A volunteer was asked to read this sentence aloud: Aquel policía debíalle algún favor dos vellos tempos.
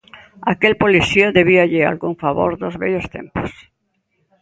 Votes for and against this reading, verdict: 2, 0, accepted